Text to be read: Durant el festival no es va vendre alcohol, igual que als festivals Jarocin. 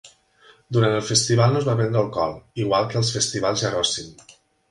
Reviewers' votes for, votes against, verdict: 3, 0, accepted